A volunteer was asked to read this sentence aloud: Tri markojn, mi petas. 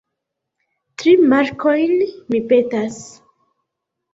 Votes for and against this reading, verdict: 1, 2, rejected